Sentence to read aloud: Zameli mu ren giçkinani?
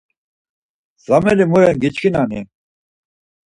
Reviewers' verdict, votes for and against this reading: accepted, 4, 0